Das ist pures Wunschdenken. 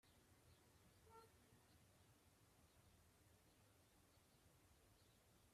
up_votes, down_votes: 0, 2